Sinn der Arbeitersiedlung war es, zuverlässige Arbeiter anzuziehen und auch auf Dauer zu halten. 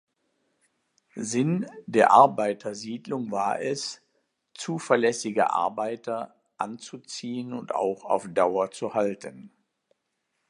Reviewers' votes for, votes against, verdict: 2, 0, accepted